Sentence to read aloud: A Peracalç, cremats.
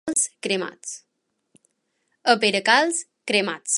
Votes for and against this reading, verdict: 0, 2, rejected